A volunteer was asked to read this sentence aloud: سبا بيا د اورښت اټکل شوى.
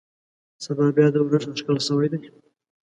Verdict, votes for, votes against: accepted, 2, 0